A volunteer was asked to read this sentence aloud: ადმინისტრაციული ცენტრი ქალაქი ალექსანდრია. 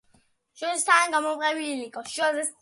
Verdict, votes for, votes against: rejected, 0, 2